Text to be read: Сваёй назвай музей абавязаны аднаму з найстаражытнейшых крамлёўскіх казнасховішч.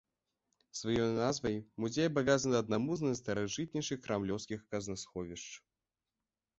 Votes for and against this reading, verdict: 2, 0, accepted